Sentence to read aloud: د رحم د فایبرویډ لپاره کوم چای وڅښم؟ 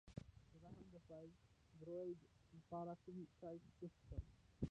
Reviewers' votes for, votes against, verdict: 0, 2, rejected